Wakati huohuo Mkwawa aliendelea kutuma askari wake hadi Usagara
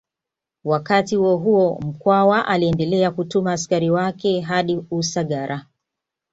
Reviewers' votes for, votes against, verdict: 2, 0, accepted